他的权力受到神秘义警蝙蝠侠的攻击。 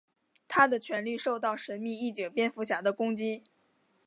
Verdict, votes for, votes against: accepted, 3, 0